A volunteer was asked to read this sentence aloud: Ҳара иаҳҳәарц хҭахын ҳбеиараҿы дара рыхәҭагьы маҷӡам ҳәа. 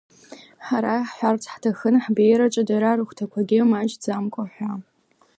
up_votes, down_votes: 1, 2